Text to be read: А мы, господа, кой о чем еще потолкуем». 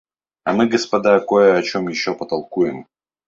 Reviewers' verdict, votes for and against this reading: rejected, 0, 2